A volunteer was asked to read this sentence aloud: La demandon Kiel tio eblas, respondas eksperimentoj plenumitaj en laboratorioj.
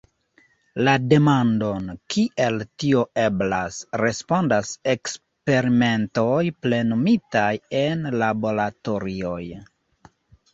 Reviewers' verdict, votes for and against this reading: rejected, 1, 2